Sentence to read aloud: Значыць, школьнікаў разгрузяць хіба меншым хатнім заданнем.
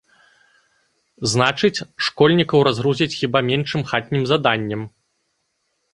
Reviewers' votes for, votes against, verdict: 2, 0, accepted